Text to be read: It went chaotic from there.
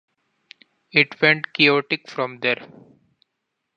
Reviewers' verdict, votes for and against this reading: accepted, 2, 0